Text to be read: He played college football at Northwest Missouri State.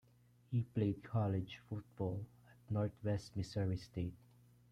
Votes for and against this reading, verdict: 1, 2, rejected